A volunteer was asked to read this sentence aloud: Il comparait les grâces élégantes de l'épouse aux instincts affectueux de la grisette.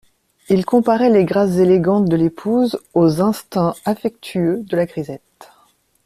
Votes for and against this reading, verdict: 2, 0, accepted